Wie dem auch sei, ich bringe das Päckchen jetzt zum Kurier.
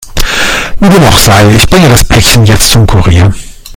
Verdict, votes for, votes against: rejected, 0, 2